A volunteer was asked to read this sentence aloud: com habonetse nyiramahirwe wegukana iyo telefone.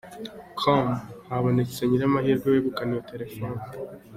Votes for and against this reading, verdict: 3, 0, accepted